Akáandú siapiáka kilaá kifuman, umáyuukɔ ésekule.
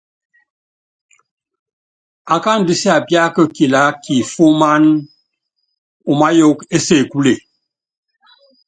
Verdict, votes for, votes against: accepted, 2, 0